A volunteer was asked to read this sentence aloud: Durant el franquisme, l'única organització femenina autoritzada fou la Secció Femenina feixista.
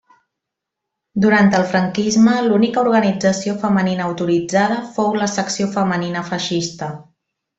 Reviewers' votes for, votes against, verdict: 3, 0, accepted